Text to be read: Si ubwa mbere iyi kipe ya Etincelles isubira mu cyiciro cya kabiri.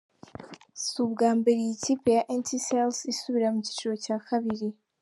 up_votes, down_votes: 2, 0